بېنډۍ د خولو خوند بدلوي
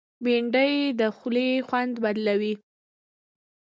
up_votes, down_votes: 2, 1